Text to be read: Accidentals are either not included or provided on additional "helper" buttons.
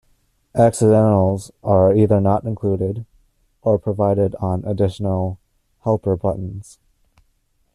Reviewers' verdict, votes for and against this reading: accepted, 2, 0